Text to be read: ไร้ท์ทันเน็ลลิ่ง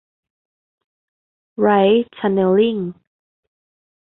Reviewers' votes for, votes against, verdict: 2, 0, accepted